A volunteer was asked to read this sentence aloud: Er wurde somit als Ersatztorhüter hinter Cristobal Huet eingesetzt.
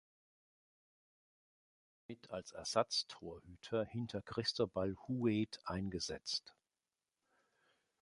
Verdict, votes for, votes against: rejected, 0, 2